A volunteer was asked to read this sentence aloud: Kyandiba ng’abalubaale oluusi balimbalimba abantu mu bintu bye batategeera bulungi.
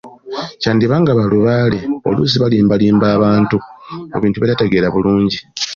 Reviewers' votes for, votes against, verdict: 2, 1, accepted